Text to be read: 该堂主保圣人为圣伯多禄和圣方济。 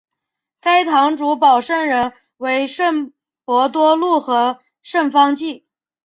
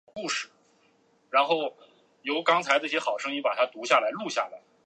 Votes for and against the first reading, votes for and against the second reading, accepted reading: 4, 0, 0, 2, first